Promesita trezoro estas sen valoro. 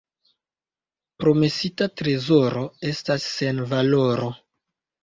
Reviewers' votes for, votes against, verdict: 0, 2, rejected